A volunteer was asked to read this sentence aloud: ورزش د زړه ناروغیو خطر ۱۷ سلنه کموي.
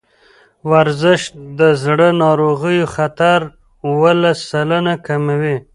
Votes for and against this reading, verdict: 0, 2, rejected